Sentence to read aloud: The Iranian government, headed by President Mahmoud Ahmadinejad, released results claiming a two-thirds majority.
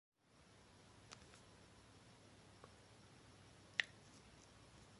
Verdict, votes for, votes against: rejected, 0, 2